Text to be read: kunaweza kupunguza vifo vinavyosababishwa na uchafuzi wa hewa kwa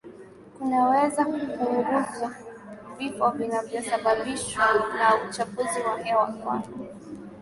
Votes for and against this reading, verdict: 2, 0, accepted